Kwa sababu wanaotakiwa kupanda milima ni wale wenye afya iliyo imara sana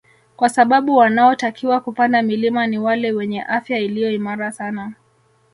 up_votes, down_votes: 4, 0